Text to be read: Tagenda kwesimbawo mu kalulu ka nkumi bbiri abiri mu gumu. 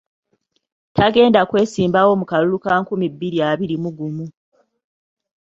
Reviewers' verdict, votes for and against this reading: accepted, 2, 0